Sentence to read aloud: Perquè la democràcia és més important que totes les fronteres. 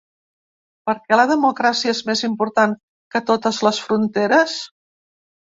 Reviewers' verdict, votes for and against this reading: rejected, 1, 2